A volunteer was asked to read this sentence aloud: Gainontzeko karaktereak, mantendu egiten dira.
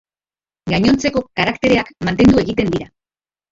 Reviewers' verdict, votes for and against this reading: rejected, 0, 2